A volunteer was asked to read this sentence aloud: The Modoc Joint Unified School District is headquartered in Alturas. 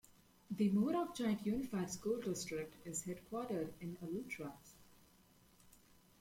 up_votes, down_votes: 0, 2